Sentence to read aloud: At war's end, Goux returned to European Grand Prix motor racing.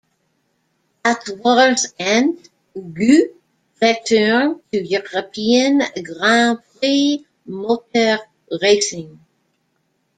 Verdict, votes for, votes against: rejected, 0, 2